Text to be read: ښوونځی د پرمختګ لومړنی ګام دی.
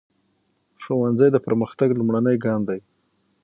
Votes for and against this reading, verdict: 0, 6, rejected